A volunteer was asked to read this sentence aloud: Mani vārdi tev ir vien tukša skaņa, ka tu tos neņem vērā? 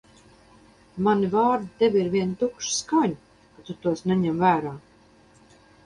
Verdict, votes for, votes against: rejected, 2, 2